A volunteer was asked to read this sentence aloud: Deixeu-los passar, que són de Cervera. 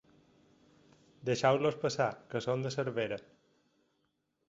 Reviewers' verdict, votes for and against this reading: accepted, 4, 0